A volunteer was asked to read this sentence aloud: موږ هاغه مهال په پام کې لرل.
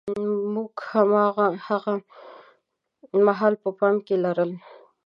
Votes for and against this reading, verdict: 0, 2, rejected